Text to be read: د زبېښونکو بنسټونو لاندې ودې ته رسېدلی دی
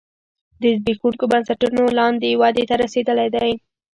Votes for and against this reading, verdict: 1, 2, rejected